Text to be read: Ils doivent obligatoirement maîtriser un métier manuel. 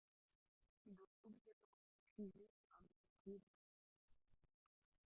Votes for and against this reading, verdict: 0, 2, rejected